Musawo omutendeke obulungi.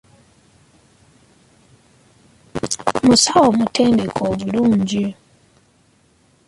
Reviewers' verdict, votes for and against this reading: rejected, 2, 3